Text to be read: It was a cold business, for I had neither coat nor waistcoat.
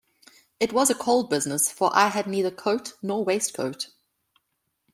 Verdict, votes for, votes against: accepted, 2, 0